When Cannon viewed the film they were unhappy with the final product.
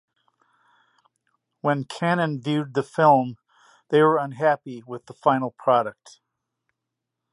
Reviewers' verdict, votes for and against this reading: accepted, 2, 0